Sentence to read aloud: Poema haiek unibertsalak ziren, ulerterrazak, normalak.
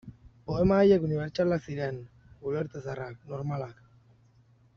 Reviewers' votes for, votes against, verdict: 0, 2, rejected